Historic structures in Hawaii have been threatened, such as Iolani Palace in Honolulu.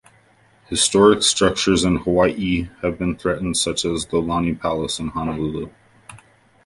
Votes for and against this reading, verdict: 1, 2, rejected